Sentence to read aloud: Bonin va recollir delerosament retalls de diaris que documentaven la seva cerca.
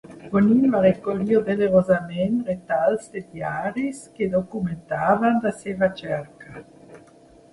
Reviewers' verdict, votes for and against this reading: rejected, 1, 2